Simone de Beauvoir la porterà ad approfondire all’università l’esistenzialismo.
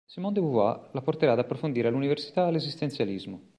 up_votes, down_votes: 1, 2